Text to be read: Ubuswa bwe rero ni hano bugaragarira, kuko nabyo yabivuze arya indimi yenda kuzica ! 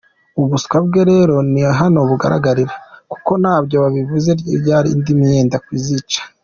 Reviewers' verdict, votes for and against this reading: rejected, 1, 2